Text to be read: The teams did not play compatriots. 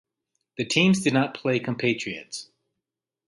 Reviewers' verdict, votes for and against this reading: accepted, 2, 0